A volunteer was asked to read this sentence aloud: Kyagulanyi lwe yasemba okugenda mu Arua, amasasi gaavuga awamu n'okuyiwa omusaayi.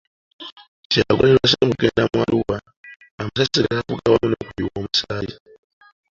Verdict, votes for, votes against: rejected, 0, 2